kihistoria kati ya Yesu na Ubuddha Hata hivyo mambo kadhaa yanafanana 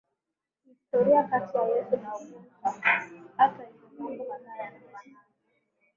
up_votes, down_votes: 3, 5